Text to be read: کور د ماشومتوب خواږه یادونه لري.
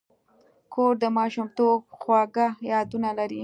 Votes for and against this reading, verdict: 2, 0, accepted